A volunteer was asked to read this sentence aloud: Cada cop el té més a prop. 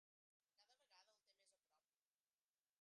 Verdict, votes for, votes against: rejected, 0, 2